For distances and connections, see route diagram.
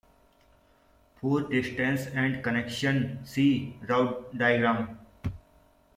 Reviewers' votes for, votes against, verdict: 2, 1, accepted